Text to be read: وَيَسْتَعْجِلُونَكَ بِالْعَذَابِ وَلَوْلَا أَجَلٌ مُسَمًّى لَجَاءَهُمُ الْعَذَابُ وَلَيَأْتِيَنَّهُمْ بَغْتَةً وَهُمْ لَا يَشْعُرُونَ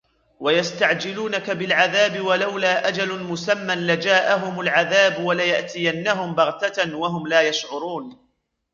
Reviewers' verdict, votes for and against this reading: rejected, 1, 2